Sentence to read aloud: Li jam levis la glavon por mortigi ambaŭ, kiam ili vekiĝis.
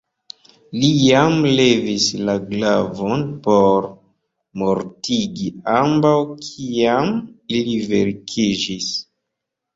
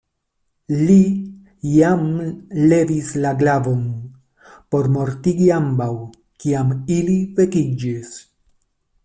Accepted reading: second